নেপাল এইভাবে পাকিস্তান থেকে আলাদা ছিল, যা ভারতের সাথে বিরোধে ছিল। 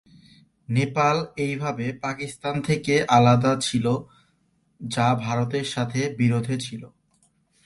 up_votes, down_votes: 1, 2